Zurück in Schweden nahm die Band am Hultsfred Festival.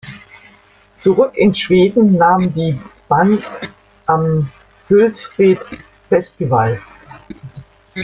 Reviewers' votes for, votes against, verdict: 0, 2, rejected